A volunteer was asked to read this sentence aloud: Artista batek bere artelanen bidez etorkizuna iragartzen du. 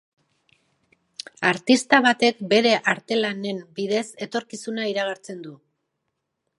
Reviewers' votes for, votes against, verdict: 5, 0, accepted